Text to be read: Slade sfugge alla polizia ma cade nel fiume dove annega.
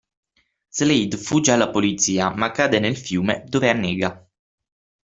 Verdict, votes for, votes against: rejected, 3, 6